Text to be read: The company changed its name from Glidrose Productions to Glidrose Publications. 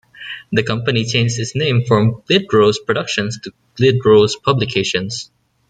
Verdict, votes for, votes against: accepted, 2, 1